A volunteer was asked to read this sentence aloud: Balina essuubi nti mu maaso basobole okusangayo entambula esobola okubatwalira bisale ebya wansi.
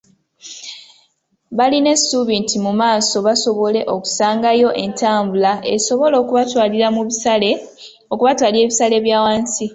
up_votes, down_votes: 1, 2